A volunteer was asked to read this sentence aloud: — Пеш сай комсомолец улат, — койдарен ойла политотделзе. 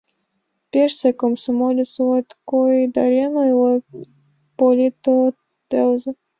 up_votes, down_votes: 0, 4